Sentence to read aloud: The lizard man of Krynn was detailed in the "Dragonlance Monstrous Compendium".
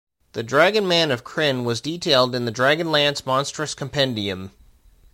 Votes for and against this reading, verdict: 0, 2, rejected